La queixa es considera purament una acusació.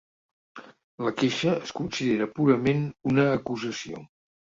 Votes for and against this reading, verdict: 2, 0, accepted